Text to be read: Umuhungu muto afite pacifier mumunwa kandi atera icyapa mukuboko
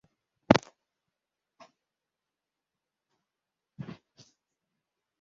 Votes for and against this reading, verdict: 0, 2, rejected